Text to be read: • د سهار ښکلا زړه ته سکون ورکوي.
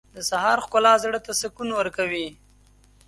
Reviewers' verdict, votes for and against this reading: accepted, 2, 0